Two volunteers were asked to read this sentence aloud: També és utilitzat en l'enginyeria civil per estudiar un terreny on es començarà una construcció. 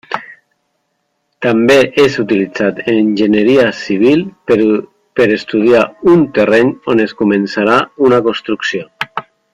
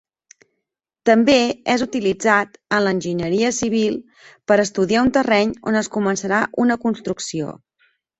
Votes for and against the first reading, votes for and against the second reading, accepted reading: 0, 2, 4, 0, second